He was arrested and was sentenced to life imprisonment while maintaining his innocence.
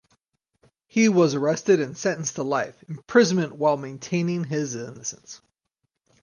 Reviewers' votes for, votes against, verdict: 2, 4, rejected